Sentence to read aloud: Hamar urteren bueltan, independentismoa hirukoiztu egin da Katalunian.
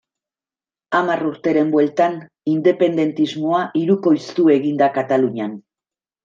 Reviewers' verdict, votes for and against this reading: accepted, 2, 0